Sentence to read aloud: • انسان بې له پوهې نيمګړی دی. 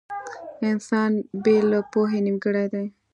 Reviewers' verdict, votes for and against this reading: rejected, 0, 2